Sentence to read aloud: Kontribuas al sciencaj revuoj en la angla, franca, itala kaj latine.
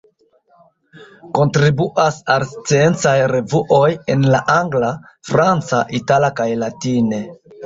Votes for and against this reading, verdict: 0, 2, rejected